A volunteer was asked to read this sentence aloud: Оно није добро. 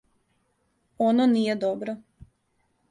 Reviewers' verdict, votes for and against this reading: accepted, 2, 0